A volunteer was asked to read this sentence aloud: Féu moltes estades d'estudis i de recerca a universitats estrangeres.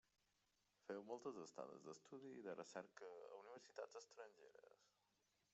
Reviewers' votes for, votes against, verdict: 0, 2, rejected